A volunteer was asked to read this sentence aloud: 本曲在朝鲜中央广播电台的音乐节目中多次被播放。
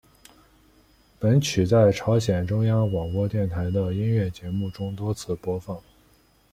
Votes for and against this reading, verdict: 1, 2, rejected